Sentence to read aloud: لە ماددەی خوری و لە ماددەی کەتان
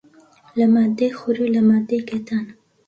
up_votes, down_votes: 2, 0